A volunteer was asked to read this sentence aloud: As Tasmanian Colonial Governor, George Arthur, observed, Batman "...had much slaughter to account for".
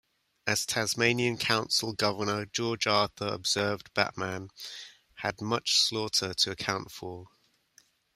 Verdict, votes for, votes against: accepted, 2, 0